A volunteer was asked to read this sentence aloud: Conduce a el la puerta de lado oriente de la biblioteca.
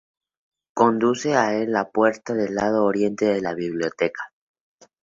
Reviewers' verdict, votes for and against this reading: accepted, 2, 0